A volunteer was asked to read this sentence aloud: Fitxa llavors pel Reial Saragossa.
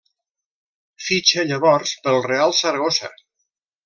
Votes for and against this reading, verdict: 1, 2, rejected